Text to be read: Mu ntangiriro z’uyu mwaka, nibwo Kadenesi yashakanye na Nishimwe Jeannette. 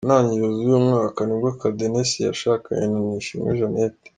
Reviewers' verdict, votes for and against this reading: accepted, 2, 0